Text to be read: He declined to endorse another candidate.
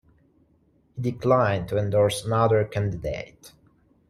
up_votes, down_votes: 0, 2